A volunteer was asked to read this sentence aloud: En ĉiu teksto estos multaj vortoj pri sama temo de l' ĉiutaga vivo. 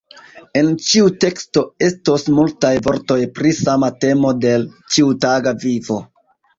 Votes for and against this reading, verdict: 2, 1, accepted